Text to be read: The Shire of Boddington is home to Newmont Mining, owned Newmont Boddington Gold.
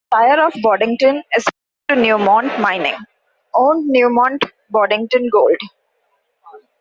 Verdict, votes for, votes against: accepted, 2, 1